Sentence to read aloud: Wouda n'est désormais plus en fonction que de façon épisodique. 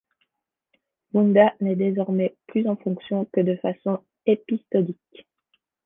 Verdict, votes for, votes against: accepted, 2, 1